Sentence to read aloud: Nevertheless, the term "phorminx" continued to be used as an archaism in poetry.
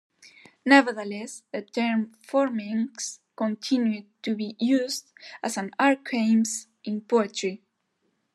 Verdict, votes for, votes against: rejected, 1, 2